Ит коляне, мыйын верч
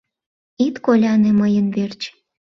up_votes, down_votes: 2, 0